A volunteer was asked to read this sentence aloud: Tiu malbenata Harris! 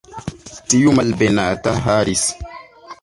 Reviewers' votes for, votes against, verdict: 2, 0, accepted